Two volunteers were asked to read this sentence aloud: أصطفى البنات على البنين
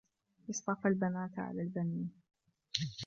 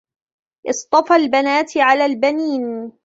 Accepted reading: second